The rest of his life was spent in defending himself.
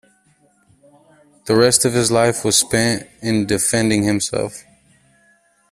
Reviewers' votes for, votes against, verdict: 2, 0, accepted